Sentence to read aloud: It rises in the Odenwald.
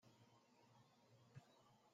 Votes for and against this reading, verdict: 0, 2, rejected